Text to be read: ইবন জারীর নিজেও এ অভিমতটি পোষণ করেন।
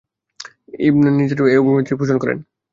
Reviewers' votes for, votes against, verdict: 0, 2, rejected